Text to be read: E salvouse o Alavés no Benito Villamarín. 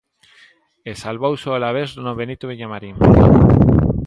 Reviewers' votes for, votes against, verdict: 2, 0, accepted